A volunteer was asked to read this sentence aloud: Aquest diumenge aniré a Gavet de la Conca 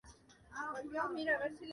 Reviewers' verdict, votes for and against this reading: rejected, 1, 2